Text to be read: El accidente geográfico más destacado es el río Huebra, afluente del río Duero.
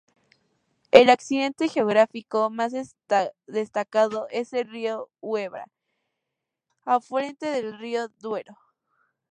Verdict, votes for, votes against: rejected, 0, 2